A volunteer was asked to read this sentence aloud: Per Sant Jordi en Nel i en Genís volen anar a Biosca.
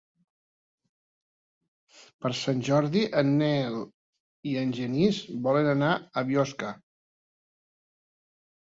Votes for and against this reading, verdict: 3, 0, accepted